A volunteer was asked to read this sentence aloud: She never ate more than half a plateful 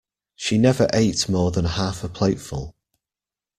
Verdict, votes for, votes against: accepted, 2, 0